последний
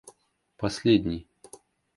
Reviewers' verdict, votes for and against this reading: rejected, 1, 2